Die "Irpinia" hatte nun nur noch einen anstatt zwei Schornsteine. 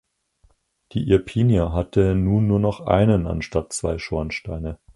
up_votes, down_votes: 4, 0